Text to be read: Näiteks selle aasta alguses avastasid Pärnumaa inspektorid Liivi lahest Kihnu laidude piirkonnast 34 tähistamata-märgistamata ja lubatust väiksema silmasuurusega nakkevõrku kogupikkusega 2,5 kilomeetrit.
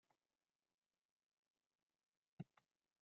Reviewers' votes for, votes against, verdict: 0, 2, rejected